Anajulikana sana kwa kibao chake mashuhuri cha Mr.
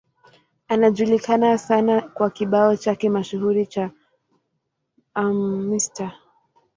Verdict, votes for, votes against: rejected, 0, 2